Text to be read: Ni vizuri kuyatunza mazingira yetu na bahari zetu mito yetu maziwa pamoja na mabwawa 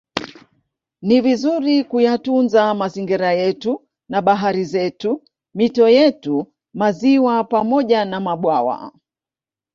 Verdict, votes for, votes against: accepted, 4, 2